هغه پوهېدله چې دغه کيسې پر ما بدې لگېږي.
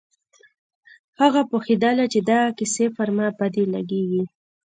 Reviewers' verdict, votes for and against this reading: accepted, 2, 0